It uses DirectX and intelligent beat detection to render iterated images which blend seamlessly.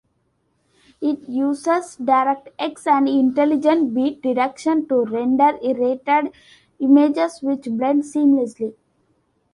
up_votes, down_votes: 0, 2